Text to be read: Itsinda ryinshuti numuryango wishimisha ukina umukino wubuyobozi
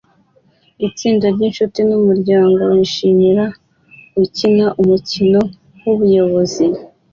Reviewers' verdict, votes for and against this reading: accepted, 2, 0